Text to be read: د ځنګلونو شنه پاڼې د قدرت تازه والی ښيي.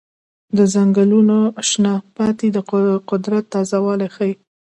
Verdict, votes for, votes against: rejected, 0, 2